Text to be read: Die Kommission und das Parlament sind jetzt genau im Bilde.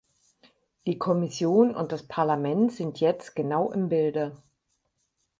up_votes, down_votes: 4, 0